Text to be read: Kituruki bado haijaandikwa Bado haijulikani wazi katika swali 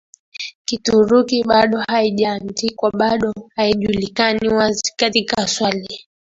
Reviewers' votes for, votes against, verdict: 3, 2, accepted